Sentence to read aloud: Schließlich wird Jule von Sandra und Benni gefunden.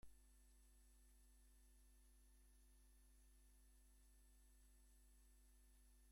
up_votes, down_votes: 0, 2